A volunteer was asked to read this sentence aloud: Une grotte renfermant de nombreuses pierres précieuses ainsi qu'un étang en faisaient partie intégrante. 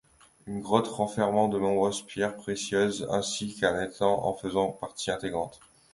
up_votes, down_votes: 0, 2